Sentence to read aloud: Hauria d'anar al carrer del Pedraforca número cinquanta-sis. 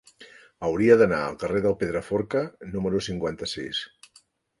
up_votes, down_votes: 3, 0